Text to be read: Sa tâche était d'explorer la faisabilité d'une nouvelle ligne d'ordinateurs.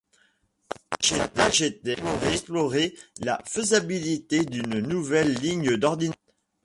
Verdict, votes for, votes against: rejected, 0, 2